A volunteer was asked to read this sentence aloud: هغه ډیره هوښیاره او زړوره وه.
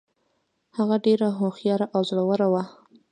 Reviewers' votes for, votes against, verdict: 1, 2, rejected